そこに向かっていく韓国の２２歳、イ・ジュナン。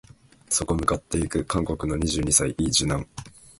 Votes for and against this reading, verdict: 0, 2, rejected